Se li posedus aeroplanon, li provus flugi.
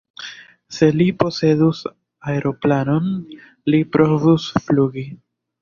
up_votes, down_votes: 2, 0